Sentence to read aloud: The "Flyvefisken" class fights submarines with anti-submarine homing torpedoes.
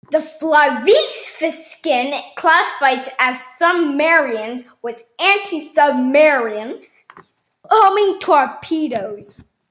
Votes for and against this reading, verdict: 1, 2, rejected